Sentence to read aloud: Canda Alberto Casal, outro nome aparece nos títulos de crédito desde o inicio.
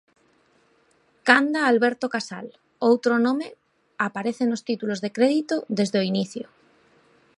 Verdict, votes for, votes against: accepted, 3, 0